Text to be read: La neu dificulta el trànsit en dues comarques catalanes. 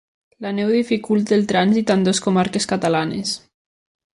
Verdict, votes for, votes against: accepted, 2, 0